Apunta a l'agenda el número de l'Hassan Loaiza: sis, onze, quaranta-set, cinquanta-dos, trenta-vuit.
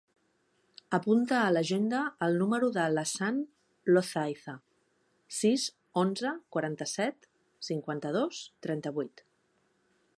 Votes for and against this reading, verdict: 1, 2, rejected